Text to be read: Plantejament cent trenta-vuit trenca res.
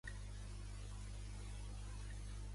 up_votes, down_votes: 0, 2